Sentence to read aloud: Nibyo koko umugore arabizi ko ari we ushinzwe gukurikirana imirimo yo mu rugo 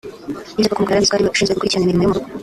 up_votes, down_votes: 0, 2